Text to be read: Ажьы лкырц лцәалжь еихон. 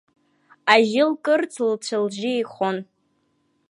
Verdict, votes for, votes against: rejected, 1, 2